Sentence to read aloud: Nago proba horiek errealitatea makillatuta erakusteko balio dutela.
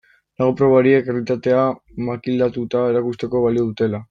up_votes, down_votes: 1, 2